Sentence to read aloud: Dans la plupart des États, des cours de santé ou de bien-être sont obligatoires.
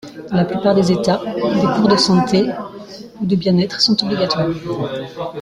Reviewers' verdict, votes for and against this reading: rejected, 0, 2